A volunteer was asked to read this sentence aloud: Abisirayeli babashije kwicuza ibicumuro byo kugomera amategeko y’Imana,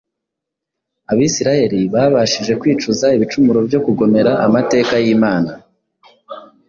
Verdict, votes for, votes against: rejected, 1, 2